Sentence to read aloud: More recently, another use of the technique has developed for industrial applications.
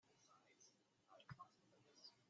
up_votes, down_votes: 0, 2